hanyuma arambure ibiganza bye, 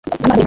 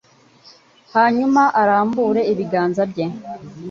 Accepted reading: second